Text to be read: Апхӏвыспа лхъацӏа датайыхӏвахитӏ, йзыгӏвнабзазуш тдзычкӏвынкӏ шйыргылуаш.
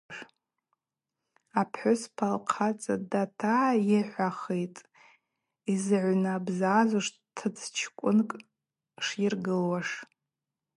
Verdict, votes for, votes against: rejected, 0, 2